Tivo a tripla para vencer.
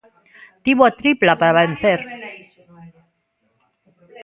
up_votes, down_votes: 1, 2